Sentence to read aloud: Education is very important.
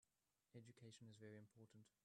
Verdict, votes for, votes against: rejected, 1, 2